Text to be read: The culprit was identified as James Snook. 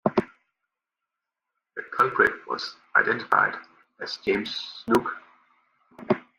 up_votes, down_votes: 2, 0